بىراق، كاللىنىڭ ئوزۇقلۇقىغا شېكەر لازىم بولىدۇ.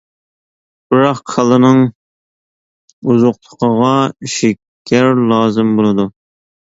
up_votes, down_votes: 2, 0